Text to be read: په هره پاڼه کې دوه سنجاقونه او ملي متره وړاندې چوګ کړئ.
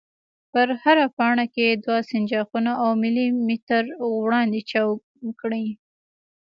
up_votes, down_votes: 1, 2